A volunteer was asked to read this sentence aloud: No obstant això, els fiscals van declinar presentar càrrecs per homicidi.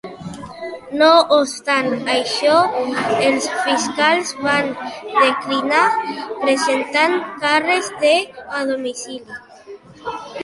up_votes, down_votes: 0, 2